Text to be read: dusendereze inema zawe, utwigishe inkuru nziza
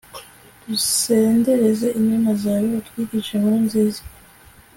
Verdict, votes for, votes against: accepted, 2, 0